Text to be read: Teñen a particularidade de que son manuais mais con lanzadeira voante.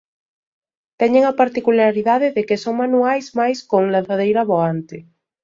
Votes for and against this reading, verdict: 2, 0, accepted